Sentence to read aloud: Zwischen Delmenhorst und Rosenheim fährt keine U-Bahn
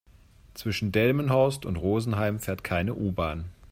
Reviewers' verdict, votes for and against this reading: accepted, 2, 0